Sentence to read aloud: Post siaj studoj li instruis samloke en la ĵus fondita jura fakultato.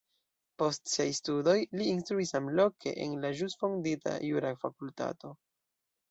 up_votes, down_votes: 1, 2